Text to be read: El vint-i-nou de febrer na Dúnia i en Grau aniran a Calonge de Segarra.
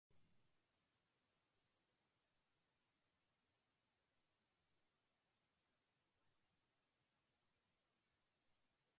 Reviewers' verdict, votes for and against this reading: rejected, 1, 2